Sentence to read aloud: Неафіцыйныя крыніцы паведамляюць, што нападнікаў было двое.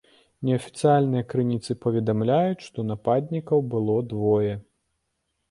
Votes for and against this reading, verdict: 0, 2, rejected